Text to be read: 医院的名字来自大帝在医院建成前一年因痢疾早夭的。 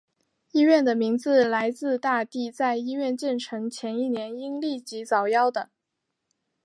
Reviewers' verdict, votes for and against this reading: accepted, 2, 0